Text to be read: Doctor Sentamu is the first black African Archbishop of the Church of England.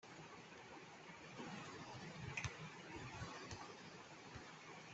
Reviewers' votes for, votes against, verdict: 0, 2, rejected